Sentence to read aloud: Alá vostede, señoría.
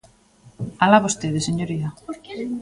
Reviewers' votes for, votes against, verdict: 1, 2, rejected